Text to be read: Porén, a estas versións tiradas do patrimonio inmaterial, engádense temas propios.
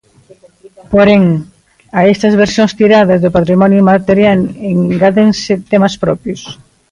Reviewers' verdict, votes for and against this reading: accepted, 2, 1